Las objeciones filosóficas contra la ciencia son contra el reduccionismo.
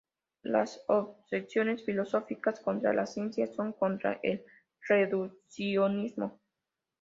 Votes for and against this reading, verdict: 2, 0, accepted